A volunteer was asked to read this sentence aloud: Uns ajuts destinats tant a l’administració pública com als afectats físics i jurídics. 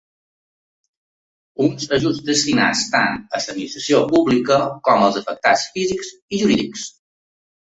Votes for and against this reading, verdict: 0, 2, rejected